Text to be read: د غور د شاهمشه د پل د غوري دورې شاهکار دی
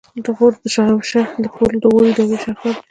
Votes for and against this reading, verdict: 1, 2, rejected